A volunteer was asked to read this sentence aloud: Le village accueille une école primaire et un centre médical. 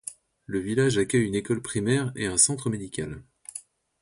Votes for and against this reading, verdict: 2, 0, accepted